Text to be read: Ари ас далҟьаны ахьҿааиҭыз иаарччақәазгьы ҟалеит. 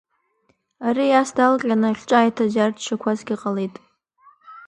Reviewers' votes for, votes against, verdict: 2, 1, accepted